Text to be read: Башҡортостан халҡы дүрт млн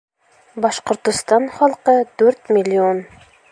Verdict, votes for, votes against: rejected, 1, 2